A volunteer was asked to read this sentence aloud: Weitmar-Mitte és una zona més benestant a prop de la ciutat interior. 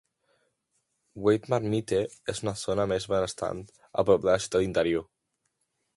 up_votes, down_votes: 0, 2